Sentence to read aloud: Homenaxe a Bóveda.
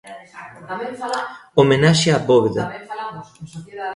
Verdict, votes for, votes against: rejected, 0, 2